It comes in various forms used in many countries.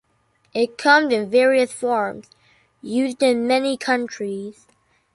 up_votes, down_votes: 2, 0